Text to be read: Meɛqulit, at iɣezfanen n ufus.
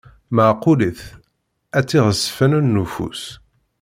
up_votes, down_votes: 0, 2